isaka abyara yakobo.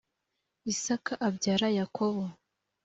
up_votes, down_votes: 2, 0